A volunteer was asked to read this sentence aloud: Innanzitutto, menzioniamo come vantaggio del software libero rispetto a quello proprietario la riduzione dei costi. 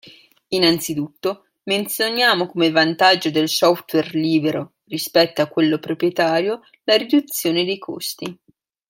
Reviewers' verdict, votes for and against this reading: rejected, 1, 2